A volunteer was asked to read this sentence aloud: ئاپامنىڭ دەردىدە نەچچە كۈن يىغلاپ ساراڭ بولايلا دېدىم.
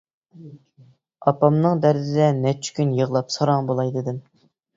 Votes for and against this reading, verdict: 1, 2, rejected